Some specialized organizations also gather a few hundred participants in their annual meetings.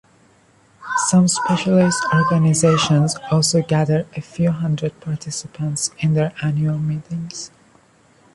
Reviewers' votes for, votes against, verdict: 1, 2, rejected